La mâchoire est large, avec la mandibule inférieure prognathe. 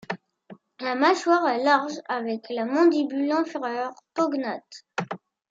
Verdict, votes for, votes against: rejected, 1, 2